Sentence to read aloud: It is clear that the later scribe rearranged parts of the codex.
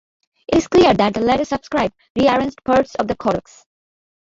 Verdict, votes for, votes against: rejected, 0, 2